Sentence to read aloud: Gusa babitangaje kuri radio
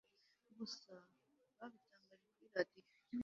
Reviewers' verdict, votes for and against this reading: rejected, 1, 2